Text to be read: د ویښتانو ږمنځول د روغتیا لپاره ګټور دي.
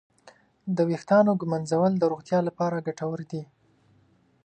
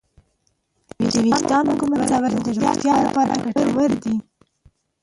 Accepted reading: first